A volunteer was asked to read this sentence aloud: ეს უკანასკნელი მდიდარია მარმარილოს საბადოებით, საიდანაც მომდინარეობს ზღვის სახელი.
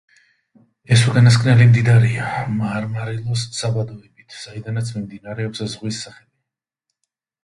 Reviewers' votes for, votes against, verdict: 2, 1, accepted